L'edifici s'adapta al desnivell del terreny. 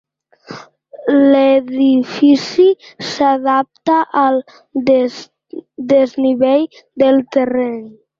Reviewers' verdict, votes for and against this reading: rejected, 0, 2